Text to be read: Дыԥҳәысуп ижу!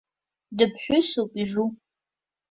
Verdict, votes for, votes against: accepted, 2, 0